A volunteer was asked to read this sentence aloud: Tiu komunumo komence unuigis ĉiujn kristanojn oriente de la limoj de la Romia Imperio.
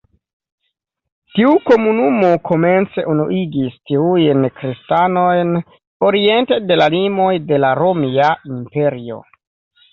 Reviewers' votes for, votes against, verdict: 2, 1, accepted